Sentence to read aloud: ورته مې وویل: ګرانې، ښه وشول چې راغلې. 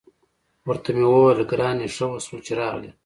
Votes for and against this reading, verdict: 2, 0, accepted